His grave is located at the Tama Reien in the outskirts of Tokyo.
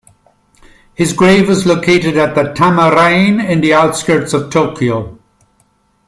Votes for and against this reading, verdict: 2, 0, accepted